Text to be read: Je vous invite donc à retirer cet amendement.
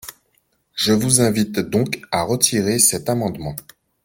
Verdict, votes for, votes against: accepted, 2, 0